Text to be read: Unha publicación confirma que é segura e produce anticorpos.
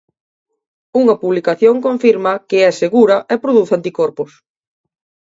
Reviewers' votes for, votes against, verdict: 2, 0, accepted